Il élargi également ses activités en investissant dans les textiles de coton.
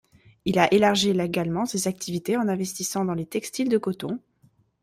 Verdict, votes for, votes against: rejected, 0, 2